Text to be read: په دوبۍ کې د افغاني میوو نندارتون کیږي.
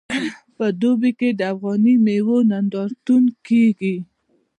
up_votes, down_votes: 1, 2